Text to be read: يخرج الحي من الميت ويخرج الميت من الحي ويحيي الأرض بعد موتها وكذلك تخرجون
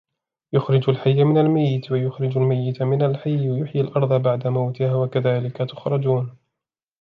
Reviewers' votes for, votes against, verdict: 1, 2, rejected